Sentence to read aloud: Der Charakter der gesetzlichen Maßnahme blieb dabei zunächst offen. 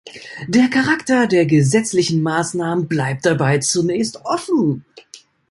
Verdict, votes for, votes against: rejected, 1, 2